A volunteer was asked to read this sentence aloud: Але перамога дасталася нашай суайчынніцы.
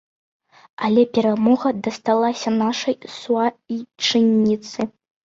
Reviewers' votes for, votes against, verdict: 2, 0, accepted